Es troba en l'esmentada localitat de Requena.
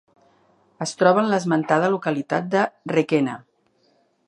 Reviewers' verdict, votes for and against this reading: accepted, 2, 0